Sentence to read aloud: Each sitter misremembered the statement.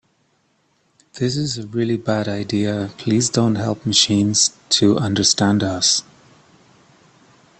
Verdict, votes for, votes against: rejected, 0, 2